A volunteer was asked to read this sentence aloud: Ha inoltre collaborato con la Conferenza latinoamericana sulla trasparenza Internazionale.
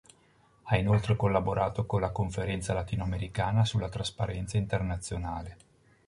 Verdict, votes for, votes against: accepted, 2, 0